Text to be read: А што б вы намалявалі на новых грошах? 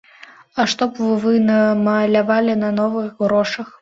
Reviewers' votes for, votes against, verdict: 2, 1, accepted